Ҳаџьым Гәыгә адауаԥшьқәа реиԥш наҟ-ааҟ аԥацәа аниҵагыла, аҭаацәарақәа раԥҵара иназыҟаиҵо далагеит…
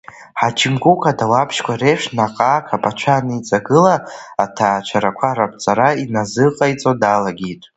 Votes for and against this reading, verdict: 2, 0, accepted